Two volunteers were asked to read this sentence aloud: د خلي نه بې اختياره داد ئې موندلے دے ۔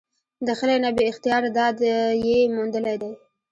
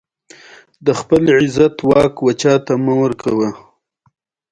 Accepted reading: second